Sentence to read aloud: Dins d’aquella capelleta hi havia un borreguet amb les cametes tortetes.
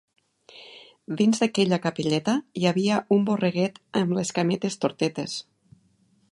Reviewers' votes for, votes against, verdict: 4, 0, accepted